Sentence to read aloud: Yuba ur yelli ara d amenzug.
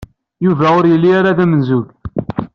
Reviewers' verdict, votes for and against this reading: accepted, 2, 0